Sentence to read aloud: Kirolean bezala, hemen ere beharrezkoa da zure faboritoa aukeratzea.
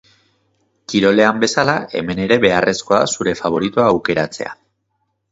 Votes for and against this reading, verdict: 2, 0, accepted